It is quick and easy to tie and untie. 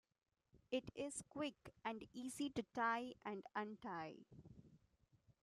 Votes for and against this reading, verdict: 1, 2, rejected